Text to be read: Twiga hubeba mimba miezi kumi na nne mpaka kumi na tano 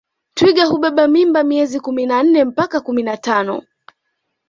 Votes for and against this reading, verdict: 2, 0, accepted